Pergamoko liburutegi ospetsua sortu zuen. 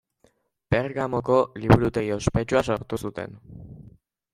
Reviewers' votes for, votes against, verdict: 0, 2, rejected